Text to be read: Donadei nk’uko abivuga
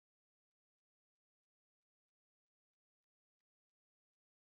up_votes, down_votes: 0, 3